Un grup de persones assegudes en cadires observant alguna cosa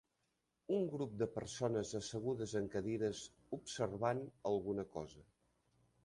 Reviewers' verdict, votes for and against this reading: accepted, 3, 0